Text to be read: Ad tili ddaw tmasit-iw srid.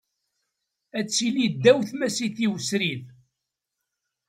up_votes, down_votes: 2, 0